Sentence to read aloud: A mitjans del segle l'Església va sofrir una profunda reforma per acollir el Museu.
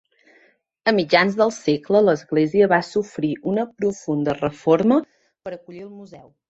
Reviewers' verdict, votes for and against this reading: rejected, 0, 2